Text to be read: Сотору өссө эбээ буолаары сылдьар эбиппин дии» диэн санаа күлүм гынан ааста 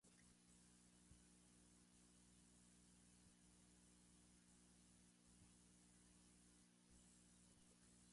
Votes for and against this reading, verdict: 0, 2, rejected